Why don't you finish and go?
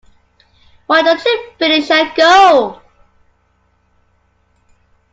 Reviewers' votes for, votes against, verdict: 2, 0, accepted